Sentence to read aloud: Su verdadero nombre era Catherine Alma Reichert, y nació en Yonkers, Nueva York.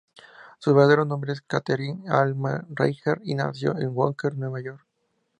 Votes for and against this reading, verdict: 2, 0, accepted